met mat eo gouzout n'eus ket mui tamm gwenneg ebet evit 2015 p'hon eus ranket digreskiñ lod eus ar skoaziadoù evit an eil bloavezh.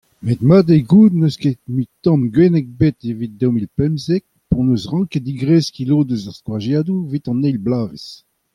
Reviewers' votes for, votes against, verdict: 0, 2, rejected